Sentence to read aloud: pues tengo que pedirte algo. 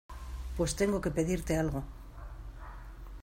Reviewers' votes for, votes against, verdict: 2, 0, accepted